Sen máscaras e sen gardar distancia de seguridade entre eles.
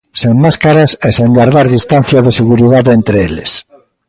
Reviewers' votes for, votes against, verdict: 2, 0, accepted